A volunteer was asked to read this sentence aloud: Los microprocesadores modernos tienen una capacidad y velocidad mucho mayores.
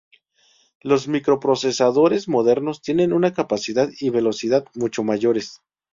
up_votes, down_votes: 2, 0